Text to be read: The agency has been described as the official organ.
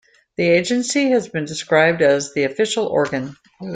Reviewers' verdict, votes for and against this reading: accepted, 2, 0